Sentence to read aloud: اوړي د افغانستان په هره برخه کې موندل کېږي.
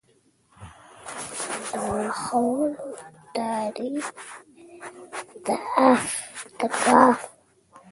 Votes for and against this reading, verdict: 0, 2, rejected